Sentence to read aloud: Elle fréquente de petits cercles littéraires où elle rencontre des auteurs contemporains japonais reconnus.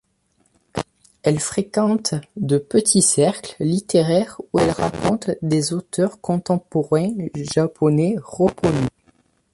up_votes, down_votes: 1, 2